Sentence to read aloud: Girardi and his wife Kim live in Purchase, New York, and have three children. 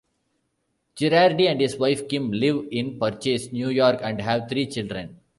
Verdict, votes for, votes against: accepted, 2, 0